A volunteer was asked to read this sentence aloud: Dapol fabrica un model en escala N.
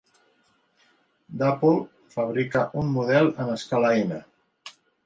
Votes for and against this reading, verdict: 2, 0, accepted